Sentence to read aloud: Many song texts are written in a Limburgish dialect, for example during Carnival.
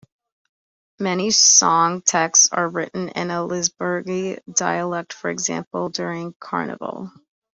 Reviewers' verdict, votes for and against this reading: rejected, 0, 2